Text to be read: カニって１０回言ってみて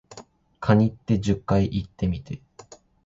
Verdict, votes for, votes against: rejected, 0, 2